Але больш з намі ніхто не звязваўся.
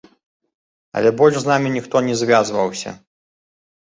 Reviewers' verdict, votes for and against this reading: accepted, 2, 0